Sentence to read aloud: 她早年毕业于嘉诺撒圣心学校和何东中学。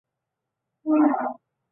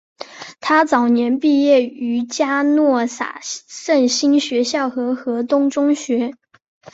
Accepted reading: second